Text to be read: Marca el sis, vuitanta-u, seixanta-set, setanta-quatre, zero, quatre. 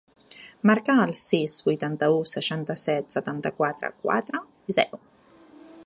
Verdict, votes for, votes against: rejected, 0, 2